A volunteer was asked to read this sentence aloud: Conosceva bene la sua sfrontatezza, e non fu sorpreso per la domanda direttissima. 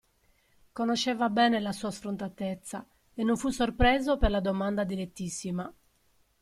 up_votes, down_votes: 2, 0